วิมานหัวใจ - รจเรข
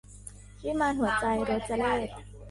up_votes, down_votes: 1, 2